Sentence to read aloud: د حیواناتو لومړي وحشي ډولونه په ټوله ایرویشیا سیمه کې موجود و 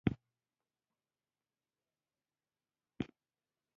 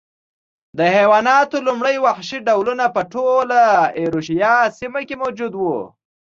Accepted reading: second